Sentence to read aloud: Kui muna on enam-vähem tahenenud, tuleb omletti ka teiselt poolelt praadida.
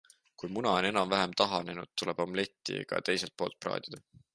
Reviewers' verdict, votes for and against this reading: rejected, 0, 2